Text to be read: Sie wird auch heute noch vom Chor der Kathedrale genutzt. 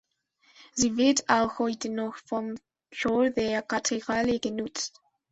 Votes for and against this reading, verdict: 1, 2, rejected